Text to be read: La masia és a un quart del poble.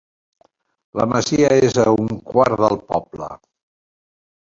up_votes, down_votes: 4, 0